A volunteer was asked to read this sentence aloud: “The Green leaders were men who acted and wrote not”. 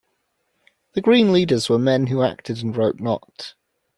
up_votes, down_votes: 2, 0